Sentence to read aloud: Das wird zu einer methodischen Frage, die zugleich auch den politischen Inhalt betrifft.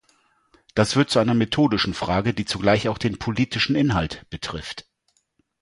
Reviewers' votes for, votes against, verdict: 2, 0, accepted